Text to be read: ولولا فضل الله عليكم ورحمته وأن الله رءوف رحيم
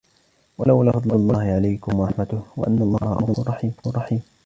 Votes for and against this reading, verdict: 1, 2, rejected